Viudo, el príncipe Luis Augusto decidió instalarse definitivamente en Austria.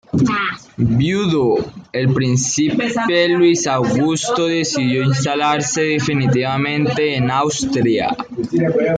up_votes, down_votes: 1, 2